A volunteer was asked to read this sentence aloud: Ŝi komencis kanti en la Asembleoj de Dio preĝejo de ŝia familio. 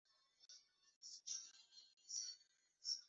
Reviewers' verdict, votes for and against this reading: rejected, 0, 2